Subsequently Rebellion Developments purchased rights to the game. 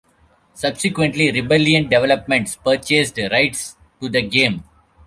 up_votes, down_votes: 1, 2